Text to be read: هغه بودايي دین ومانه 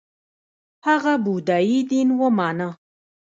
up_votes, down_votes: 0, 2